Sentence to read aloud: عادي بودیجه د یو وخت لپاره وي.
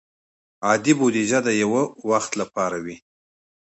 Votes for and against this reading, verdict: 2, 0, accepted